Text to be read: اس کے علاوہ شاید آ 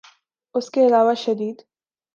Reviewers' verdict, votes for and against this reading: rejected, 0, 2